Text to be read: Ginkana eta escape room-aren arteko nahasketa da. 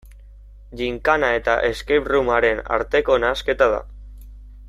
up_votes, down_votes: 2, 0